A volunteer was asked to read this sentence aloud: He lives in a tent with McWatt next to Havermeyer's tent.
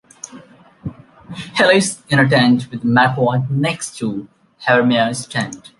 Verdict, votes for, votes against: accepted, 2, 0